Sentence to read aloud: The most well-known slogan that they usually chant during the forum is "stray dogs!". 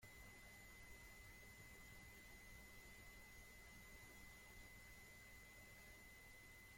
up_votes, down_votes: 0, 2